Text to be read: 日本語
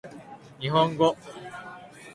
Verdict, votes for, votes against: accepted, 2, 0